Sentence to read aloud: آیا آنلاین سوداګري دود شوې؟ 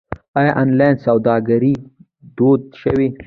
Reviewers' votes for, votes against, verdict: 0, 2, rejected